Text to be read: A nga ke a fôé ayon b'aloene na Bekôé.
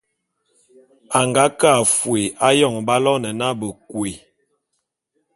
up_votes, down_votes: 2, 0